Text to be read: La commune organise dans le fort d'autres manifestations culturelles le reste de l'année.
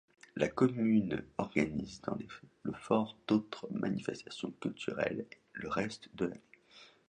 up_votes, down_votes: 1, 2